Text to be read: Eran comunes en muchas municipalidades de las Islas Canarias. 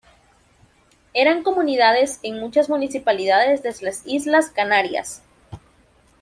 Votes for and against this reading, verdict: 0, 2, rejected